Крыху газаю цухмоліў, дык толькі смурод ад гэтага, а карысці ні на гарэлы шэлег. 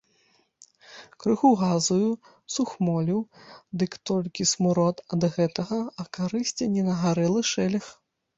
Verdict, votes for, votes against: rejected, 1, 2